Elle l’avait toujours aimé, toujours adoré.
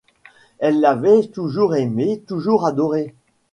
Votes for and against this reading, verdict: 2, 0, accepted